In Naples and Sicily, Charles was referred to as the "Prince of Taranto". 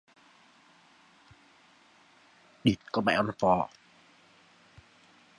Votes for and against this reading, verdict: 0, 3, rejected